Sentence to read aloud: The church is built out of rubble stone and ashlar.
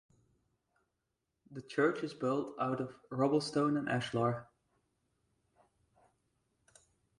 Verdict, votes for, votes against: accepted, 4, 0